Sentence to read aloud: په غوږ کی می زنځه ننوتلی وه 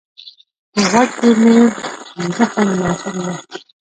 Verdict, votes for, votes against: rejected, 0, 2